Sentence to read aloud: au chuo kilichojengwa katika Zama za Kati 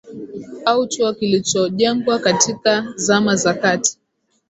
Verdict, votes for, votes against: accepted, 2, 0